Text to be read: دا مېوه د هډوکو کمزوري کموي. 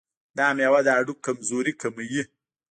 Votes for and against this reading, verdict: 0, 2, rejected